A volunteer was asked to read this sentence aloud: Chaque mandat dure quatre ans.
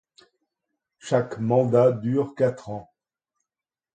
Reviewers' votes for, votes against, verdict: 2, 0, accepted